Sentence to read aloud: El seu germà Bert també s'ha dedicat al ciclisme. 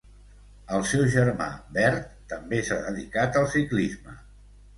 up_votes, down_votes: 2, 0